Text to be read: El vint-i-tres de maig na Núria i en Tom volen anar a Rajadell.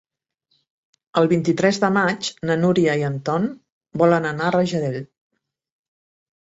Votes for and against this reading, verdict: 0, 2, rejected